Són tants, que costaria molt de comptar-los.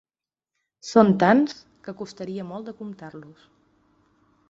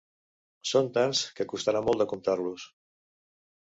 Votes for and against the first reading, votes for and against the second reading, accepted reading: 3, 0, 0, 2, first